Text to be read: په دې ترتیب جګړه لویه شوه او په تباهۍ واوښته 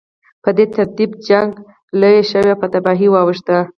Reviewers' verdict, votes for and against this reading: accepted, 6, 0